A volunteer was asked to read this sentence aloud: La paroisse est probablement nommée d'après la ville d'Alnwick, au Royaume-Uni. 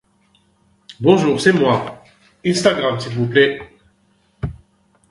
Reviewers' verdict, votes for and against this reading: rejected, 0, 2